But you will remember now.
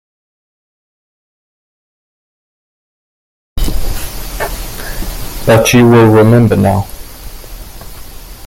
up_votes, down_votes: 2, 0